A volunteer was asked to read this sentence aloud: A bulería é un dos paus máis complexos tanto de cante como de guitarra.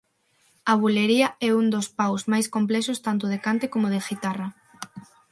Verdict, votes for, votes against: accepted, 6, 0